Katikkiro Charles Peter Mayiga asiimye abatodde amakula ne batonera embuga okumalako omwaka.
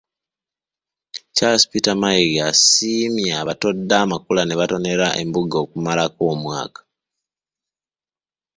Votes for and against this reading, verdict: 1, 2, rejected